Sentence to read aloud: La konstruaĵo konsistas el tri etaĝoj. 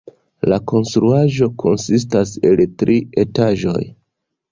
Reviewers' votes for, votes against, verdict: 2, 1, accepted